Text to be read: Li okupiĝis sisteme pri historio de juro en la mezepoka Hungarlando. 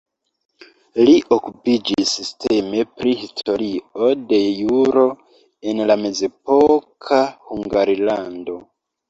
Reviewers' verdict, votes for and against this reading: accepted, 2, 1